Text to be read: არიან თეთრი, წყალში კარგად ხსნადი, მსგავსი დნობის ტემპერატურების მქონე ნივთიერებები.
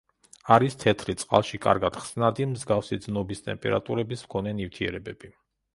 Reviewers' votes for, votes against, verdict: 1, 2, rejected